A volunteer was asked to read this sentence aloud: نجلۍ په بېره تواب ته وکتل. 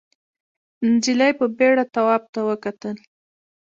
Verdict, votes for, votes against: rejected, 0, 2